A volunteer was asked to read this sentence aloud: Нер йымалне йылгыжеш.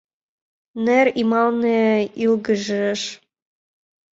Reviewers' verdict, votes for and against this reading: rejected, 1, 2